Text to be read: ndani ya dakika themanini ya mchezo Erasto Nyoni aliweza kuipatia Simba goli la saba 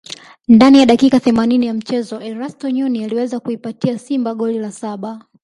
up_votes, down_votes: 1, 2